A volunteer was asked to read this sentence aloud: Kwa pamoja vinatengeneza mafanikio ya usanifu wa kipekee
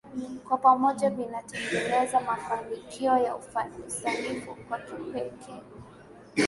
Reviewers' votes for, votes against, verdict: 0, 2, rejected